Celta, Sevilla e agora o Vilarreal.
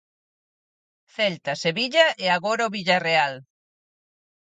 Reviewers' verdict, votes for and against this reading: rejected, 0, 4